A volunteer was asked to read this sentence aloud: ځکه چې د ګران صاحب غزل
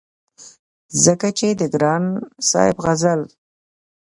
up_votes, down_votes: 2, 0